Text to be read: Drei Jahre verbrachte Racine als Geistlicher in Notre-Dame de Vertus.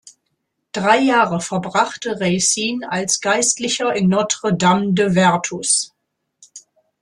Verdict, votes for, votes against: rejected, 0, 2